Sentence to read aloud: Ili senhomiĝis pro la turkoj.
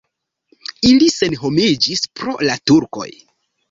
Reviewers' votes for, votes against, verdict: 2, 0, accepted